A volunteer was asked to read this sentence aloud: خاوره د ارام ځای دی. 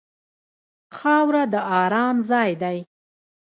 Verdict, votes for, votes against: rejected, 1, 2